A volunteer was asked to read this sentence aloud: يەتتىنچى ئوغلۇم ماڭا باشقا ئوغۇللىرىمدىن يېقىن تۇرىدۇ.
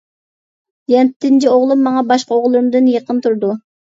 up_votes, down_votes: 0, 2